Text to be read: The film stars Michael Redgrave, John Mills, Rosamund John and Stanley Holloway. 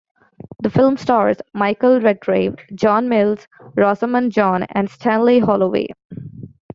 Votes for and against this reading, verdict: 2, 0, accepted